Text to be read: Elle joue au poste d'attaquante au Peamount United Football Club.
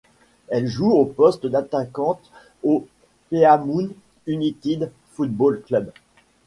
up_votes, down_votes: 1, 2